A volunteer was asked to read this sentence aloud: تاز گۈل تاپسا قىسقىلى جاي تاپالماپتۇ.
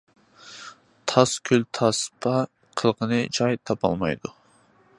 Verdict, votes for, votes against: rejected, 0, 2